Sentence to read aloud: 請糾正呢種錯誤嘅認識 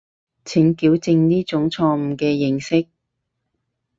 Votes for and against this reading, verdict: 4, 4, rejected